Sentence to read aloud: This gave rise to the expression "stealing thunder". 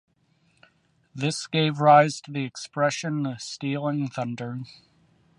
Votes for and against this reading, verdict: 1, 2, rejected